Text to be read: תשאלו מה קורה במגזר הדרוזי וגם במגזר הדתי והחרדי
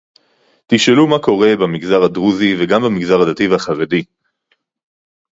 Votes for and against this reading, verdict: 4, 0, accepted